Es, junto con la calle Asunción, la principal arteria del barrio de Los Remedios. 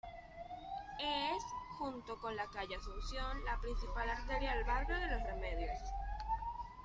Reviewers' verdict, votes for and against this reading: accepted, 2, 1